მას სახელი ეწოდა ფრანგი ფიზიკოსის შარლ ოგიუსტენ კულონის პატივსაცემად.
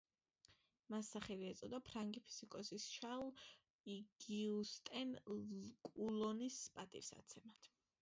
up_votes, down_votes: 0, 2